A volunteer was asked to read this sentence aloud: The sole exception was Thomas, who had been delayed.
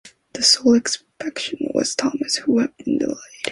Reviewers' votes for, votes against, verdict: 0, 2, rejected